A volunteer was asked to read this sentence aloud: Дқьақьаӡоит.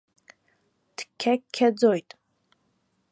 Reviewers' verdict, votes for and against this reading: rejected, 0, 2